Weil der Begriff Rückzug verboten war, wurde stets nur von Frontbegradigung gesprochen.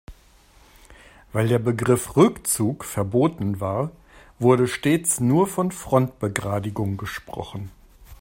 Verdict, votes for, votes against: accepted, 2, 0